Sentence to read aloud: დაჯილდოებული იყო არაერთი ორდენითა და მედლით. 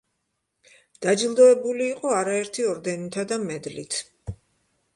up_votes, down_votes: 2, 0